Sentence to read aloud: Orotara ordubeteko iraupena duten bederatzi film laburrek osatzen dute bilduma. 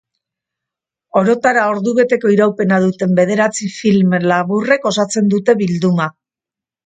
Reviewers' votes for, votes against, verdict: 4, 0, accepted